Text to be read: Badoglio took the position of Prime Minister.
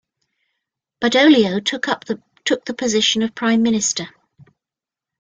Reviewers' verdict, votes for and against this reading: rejected, 0, 2